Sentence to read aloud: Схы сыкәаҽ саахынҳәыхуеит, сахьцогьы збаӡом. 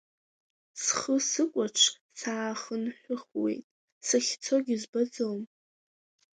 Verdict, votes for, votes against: accepted, 2, 0